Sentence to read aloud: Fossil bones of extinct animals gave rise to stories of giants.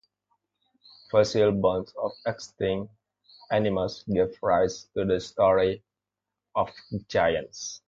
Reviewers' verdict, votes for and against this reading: rejected, 0, 2